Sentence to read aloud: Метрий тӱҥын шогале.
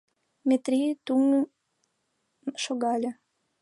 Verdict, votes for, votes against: rejected, 1, 2